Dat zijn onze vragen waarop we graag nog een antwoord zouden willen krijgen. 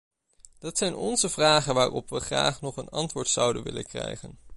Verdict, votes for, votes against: accepted, 2, 0